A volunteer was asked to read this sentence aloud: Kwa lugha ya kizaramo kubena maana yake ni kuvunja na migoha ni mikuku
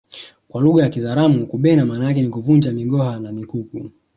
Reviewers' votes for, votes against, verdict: 1, 2, rejected